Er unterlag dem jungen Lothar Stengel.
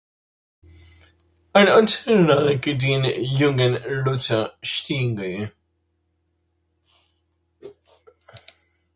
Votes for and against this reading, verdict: 0, 2, rejected